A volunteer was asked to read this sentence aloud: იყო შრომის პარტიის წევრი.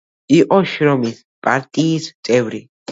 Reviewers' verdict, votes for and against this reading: accepted, 2, 0